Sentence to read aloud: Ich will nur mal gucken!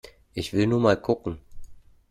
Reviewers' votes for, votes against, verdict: 2, 0, accepted